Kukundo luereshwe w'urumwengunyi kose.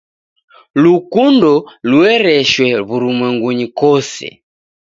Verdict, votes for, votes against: rejected, 0, 2